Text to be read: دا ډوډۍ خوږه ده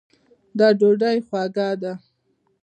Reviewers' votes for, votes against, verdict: 2, 0, accepted